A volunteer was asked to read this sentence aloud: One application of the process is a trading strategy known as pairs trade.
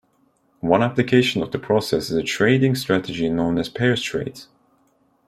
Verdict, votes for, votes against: rejected, 1, 2